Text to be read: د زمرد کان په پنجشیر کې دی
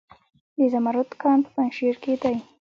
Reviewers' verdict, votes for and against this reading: accepted, 3, 1